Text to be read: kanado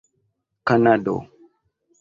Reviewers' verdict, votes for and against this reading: accepted, 2, 1